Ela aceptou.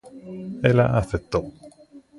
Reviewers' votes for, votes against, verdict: 2, 0, accepted